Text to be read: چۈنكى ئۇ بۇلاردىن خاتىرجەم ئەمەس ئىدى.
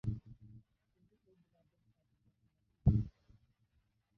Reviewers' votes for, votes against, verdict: 0, 2, rejected